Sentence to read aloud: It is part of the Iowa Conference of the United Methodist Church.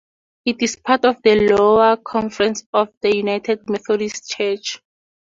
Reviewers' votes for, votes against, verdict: 0, 2, rejected